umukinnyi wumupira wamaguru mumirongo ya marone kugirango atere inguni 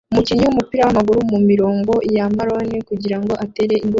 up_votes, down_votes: 0, 2